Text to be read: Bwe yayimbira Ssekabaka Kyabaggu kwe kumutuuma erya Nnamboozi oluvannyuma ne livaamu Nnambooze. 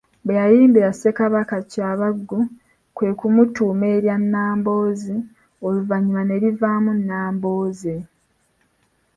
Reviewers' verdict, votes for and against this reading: accepted, 2, 0